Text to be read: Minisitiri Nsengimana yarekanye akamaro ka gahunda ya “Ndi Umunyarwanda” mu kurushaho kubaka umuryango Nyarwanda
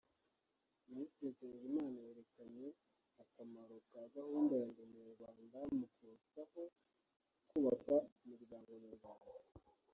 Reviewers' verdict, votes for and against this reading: rejected, 0, 2